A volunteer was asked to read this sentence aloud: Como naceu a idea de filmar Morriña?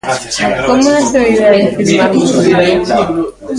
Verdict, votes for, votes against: rejected, 0, 2